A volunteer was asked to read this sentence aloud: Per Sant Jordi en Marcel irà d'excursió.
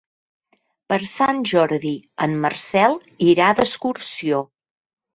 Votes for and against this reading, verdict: 3, 1, accepted